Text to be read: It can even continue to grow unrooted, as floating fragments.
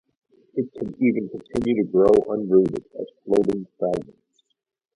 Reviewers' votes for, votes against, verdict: 2, 2, rejected